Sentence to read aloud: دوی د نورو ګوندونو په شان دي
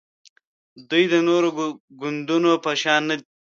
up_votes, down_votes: 0, 2